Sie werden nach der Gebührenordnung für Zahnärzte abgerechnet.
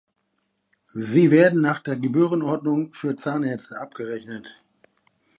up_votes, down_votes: 1, 2